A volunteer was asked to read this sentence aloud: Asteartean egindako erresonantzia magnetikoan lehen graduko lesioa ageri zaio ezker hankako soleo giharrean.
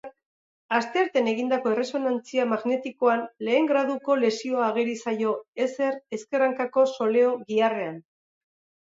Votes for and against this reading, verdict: 0, 2, rejected